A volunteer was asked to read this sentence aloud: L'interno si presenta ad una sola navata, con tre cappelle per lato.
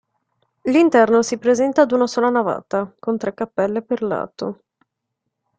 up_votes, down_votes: 1, 2